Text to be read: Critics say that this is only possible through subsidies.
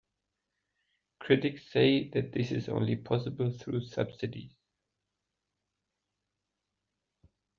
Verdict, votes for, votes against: accepted, 2, 0